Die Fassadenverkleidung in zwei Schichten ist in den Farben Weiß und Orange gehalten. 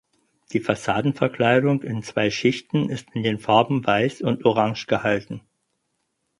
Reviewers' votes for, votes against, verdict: 4, 0, accepted